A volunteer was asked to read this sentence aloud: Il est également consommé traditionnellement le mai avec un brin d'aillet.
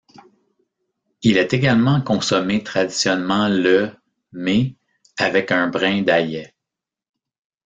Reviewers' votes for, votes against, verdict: 1, 2, rejected